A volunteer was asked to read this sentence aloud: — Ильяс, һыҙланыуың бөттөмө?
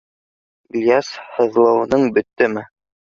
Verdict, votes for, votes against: rejected, 0, 2